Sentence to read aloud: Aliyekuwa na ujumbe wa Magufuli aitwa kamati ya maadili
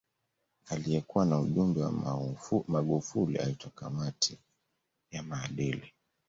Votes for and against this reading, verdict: 2, 0, accepted